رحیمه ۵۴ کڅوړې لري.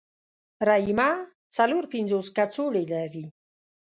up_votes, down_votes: 0, 2